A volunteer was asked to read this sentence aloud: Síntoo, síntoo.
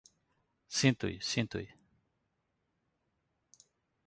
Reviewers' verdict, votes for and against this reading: rejected, 0, 2